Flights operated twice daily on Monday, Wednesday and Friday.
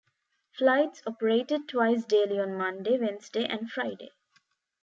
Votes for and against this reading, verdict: 2, 0, accepted